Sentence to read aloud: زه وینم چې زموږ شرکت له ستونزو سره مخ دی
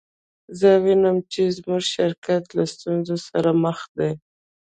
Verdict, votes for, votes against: accepted, 2, 0